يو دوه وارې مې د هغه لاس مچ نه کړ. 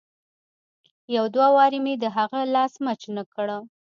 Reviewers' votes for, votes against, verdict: 1, 2, rejected